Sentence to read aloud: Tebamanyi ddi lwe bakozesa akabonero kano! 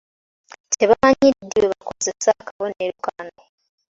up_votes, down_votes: 2, 1